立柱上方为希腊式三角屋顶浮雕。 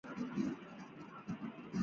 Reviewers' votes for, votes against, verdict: 0, 3, rejected